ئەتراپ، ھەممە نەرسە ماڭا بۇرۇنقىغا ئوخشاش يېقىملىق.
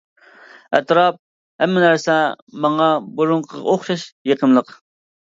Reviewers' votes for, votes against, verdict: 2, 0, accepted